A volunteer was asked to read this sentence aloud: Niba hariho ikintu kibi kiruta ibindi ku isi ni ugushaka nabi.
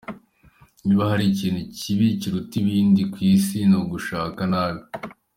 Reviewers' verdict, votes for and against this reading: accepted, 2, 0